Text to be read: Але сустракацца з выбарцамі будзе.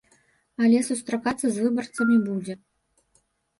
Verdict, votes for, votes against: accepted, 2, 0